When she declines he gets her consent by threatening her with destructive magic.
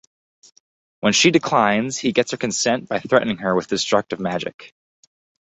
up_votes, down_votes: 2, 0